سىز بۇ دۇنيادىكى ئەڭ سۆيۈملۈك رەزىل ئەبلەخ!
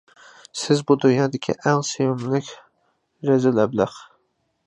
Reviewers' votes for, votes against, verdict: 2, 0, accepted